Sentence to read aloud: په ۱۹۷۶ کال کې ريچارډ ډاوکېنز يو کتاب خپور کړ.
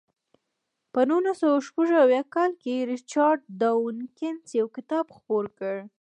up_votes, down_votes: 0, 2